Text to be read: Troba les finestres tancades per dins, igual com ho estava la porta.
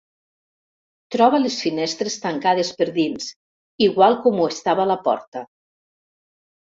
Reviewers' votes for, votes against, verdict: 2, 0, accepted